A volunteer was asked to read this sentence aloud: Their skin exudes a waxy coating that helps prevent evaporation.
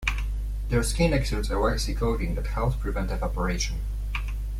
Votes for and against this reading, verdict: 2, 0, accepted